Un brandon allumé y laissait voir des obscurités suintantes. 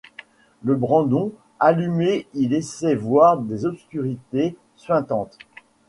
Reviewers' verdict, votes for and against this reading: rejected, 0, 2